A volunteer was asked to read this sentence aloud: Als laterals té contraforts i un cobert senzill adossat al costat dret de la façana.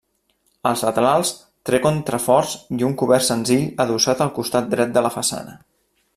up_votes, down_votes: 0, 2